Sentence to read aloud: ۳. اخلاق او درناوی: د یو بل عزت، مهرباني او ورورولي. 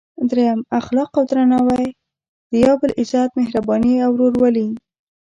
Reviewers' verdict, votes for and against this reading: rejected, 0, 2